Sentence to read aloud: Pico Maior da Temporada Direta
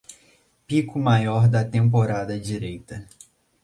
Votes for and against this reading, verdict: 0, 2, rejected